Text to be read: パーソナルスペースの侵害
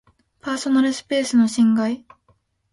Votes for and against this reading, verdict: 2, 0, accepted